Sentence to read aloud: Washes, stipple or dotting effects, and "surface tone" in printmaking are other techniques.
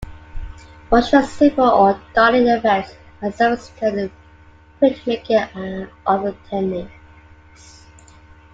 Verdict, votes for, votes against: rejected, 0, 2